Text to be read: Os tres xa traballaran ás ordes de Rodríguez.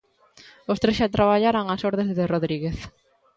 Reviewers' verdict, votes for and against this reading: accepted, 2, 0